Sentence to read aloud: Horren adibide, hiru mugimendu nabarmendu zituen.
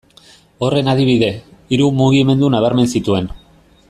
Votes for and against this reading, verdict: 0, 2, rejected